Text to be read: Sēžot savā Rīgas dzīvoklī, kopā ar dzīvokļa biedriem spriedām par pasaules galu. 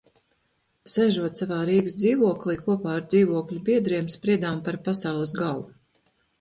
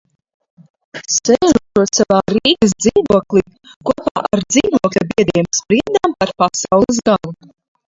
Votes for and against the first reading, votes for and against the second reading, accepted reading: 2, 0, 0, 2, first